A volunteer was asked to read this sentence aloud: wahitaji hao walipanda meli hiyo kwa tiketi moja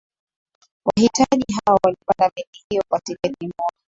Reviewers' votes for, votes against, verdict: 2, 0, accepted